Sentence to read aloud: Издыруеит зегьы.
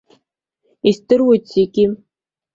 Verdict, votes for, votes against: accepted, 2, 0